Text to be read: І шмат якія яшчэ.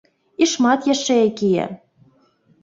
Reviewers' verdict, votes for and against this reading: rejected, 0, 2